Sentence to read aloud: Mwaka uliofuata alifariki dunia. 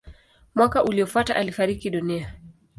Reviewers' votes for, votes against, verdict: 2, 0, accepted